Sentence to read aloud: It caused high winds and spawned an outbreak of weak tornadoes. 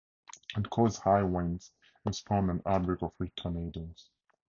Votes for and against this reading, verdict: 4, 0, accepted